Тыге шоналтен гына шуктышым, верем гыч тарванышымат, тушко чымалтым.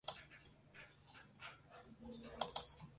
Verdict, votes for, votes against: rejected, 0, 2